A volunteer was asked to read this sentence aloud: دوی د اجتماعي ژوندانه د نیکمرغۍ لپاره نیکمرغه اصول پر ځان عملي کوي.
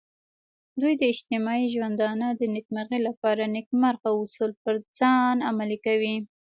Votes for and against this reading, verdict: 1, 2, rejected